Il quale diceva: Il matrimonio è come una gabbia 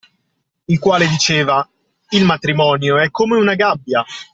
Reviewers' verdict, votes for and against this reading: accepted, 2, 0